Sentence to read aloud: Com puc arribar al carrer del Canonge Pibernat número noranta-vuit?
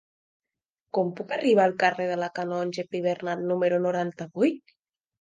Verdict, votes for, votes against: rejected, 0, 2